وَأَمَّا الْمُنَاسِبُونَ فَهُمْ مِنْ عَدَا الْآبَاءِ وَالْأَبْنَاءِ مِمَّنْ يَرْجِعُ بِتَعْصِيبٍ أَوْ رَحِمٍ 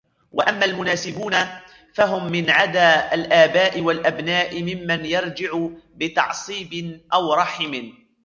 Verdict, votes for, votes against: rejected, 0, 2